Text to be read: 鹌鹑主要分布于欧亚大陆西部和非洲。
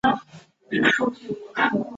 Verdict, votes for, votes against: rejected, 0, 2